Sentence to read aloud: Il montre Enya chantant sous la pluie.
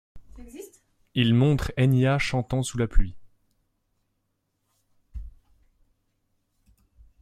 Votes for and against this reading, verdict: 2, 0, accepted